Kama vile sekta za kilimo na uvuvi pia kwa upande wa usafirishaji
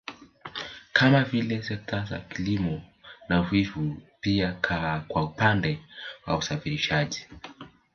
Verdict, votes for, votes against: rejected, 1, 3